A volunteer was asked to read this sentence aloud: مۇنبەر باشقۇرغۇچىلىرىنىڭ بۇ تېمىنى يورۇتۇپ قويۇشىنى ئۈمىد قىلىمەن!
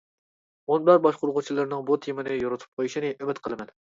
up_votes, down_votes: 2, 0